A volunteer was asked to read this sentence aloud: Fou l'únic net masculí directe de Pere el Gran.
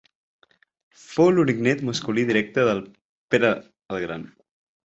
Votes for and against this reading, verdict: 5, 7, rejected